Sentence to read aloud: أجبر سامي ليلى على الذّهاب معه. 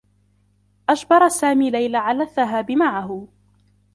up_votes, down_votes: 2, 0